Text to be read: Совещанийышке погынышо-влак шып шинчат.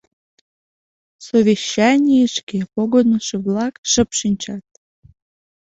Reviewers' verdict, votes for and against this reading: accepted, 2, 0